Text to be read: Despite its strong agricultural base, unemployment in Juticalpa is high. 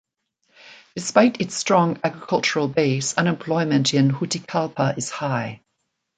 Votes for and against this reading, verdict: 2, 0, accepted